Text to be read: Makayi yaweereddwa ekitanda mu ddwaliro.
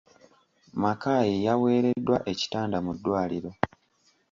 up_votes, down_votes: 2, 0